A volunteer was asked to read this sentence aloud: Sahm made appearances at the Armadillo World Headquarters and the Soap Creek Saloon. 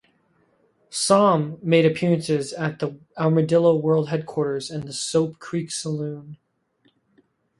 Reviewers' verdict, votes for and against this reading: rejected, 2, 2